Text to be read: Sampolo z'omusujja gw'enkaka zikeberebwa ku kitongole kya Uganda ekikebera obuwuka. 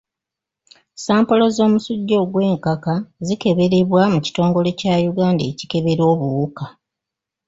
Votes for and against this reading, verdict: 0, 2, rejected